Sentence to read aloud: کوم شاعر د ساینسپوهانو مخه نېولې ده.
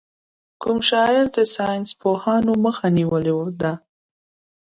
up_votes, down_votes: 1, 2